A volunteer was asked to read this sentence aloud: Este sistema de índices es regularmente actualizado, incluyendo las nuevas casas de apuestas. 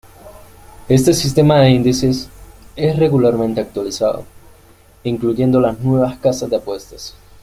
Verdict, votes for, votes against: accepted, 2, 0